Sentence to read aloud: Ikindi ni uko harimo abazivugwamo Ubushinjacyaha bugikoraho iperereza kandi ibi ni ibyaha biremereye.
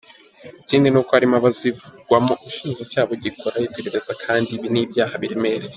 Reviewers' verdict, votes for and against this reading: rejected, 1, 2